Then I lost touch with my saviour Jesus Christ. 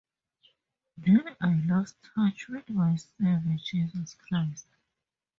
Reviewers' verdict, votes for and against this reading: rejected, 0, 2